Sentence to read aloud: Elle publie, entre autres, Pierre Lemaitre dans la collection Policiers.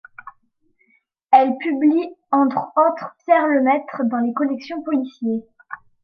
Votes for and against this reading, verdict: 2, 1, accepted